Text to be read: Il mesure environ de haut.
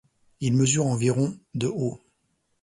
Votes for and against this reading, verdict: 2, 0, accepted